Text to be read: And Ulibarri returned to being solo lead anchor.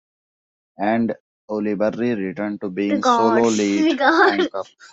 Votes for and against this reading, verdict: 1, 2, rejected